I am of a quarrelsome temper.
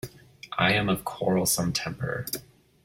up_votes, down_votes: 1, 2